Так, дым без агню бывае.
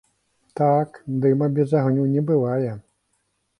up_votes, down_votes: 1, 2